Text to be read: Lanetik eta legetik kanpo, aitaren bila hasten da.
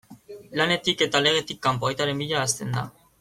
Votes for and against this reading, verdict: 2, 0, accepted